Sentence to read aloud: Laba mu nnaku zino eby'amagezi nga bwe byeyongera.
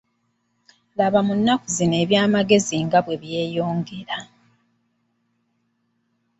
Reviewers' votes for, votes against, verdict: 2, 0, accepted